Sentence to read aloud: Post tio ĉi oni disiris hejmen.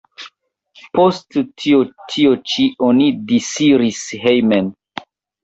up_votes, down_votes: 0, 2